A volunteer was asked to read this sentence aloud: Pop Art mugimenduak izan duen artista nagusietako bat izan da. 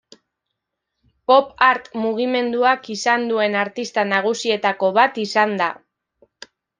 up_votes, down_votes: 2, 0